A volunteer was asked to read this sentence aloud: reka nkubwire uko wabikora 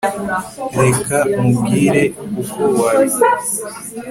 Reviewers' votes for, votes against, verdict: 3, 0, accepted